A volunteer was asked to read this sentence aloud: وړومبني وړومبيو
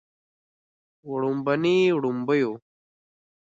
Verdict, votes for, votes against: accepted, 2, 0